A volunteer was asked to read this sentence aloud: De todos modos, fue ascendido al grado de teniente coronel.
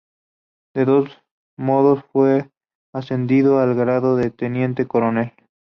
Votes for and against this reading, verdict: 2, 0, accepted